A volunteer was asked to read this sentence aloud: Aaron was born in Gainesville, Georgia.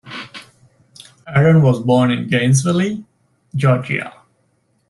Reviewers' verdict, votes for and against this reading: rejected, 1, 2